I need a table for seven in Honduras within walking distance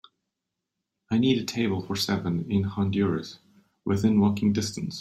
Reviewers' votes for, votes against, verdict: 3, 0, accepted